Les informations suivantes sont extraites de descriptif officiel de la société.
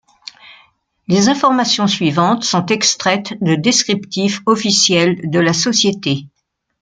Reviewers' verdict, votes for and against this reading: accepted, 2, 0